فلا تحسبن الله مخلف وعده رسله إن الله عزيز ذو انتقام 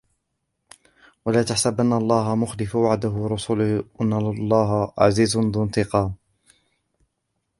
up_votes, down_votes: 0, 2